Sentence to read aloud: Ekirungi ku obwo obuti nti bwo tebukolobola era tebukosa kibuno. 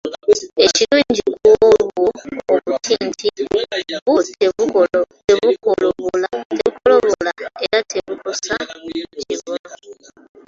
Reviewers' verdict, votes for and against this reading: rejected, 0, 2